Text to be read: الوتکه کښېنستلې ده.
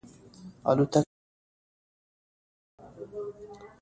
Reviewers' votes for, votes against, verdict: 1, 2, rejected